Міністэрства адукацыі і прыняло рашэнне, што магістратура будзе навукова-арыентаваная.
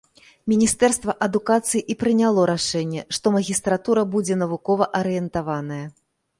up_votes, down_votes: 2, 0